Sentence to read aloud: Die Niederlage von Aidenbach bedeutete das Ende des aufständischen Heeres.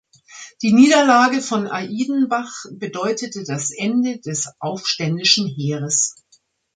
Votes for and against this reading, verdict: 2, 3, rejected